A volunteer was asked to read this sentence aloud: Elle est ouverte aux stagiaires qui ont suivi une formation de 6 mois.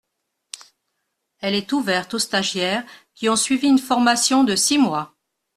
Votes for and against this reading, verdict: 0, 2, rejected